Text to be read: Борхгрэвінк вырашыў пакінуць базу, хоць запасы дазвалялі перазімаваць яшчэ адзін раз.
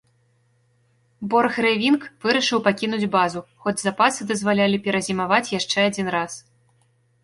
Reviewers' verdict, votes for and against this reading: rejected, 1, 2